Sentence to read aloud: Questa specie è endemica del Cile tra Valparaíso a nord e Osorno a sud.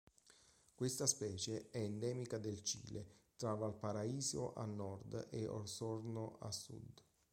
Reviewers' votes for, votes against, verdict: 1, 2, rejected